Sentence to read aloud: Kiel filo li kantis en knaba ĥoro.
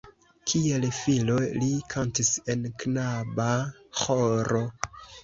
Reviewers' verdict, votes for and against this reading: accepted, 2, 0